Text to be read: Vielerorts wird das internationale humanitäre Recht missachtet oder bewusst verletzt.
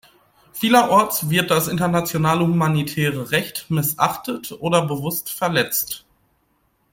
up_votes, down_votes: 2, 0